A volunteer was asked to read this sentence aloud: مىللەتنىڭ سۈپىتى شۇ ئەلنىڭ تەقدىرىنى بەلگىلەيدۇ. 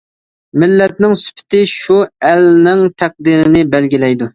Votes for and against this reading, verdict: 2, 1, accepted